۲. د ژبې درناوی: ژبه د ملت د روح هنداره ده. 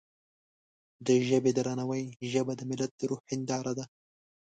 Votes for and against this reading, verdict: 0, 2, rejected